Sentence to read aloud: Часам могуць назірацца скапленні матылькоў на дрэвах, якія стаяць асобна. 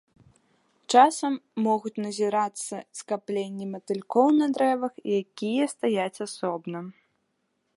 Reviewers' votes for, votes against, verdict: 2, 1, accepted